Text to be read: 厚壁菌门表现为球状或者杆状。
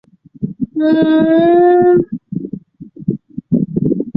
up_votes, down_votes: 1, 5